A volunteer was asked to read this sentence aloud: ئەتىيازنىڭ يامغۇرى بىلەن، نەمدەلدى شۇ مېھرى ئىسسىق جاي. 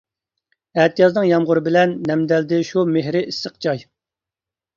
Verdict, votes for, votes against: accepted, 2, 0